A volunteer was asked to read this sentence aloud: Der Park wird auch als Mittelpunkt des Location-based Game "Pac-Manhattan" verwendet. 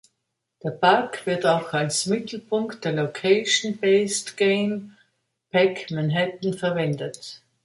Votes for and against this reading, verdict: 1, 2, rejected